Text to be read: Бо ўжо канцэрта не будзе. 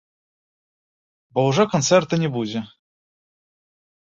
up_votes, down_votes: 3, 1